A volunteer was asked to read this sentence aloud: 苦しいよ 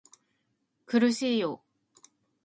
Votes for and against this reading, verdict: 2, 0, accepted